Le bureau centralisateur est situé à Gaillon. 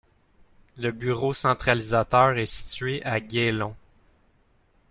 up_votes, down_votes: 2, 1